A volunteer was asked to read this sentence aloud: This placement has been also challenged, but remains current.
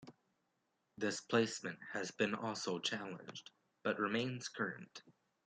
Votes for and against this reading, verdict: 1, 2, rejected